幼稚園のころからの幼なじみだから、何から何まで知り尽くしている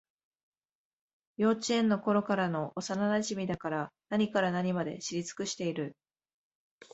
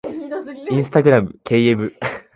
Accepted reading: first